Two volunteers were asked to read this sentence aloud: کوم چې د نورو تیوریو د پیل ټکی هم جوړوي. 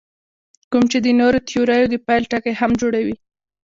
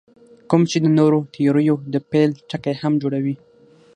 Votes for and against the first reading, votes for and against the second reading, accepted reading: 1, 2, 6, 0, second